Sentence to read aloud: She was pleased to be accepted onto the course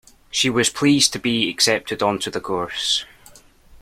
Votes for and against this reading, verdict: 2, 0, accepted